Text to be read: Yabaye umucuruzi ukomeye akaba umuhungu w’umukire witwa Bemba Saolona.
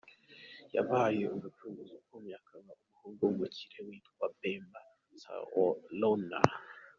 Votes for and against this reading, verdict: 2, 3, rejected